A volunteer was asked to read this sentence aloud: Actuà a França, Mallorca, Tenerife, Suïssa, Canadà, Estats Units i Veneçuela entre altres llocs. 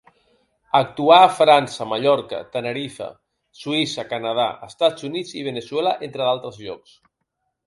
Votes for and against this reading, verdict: 4, 2, accepted